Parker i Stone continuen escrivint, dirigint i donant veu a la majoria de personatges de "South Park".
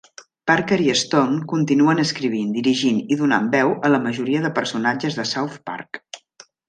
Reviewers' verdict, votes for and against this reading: accepted, 3, 0